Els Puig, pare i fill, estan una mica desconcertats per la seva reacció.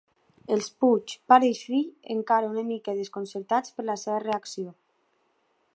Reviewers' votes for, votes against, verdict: 0, 2, rejected